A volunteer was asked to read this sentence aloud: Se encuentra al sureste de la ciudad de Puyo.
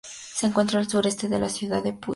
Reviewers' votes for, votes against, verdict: 2, 0, accepted